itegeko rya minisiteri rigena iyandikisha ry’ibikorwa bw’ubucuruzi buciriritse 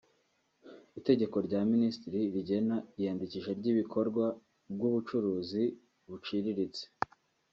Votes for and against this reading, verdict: 1, 2, rejected